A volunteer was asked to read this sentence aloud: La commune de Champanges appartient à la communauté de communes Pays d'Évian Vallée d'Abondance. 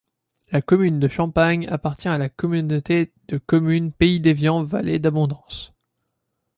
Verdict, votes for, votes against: accepted, 2, 0